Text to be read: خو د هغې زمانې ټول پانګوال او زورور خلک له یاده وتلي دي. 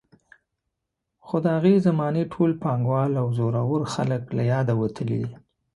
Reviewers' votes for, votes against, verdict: 2, 0, accepted